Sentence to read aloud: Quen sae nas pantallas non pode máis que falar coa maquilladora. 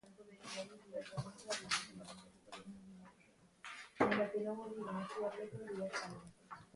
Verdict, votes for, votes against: rejected, 0, 2